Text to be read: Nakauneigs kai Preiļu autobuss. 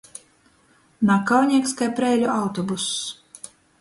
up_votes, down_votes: 2, 0